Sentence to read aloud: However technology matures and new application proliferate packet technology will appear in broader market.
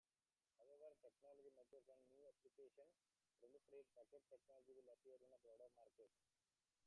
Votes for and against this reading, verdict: 0, 2, rejected